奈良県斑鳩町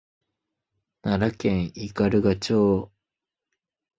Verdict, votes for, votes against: accepted, 2, 0